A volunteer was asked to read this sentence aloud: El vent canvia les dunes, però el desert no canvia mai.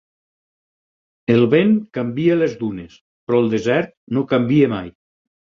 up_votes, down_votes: 4, 0